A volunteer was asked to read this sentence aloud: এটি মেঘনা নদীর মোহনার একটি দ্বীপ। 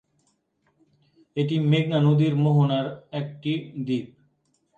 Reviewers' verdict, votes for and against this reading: rejected, 1, 2